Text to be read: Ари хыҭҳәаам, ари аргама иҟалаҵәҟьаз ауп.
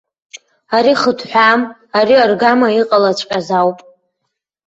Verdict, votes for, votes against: accepted, 2, 0